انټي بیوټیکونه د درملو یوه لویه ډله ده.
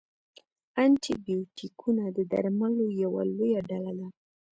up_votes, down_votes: 2, 0